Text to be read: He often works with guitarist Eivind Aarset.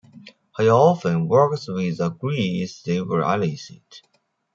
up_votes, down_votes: 0, 2